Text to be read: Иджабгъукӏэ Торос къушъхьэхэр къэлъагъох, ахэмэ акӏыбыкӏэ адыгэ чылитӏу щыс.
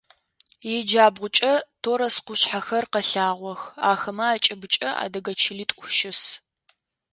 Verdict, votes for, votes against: accepted, 2, 0